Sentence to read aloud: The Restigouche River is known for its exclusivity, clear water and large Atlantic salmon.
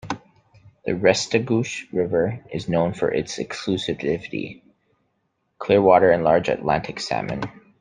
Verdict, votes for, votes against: accepted, 2, 0